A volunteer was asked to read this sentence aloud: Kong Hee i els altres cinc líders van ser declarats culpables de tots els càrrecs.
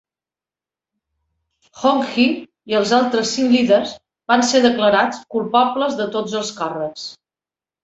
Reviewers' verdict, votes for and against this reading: accepted, 2, 0